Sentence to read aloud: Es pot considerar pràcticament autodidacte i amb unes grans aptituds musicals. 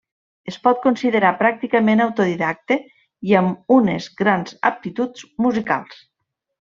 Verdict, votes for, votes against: accepted, 3, 0